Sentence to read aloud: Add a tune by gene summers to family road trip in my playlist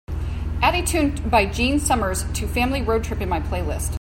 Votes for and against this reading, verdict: 2, 3, rejected